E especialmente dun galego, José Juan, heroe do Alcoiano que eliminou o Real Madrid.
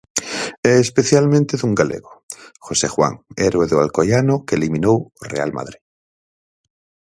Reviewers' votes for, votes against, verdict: 2, 4, rejected